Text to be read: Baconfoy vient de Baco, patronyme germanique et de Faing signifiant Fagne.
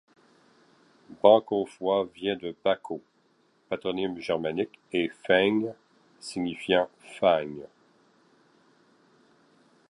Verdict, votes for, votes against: rejected, 1, 2